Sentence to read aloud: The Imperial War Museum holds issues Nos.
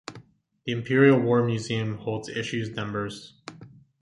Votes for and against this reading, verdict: 1, 2, rejected